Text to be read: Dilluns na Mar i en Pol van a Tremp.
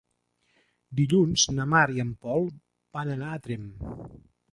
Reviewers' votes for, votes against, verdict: 0, 3, rejected